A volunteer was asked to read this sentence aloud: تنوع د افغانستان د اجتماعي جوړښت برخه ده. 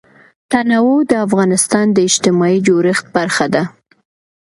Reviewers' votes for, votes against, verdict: 2, 0, accepted